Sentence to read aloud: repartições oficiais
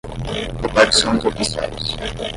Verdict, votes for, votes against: accepted, 10, 0